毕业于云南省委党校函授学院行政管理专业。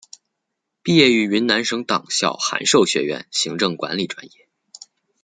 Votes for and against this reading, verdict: 2, 0, accepted